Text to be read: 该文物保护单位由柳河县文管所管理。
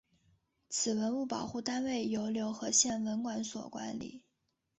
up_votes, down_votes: 0, 2